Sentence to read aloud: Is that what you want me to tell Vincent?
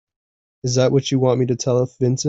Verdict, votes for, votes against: rejected, 0, 2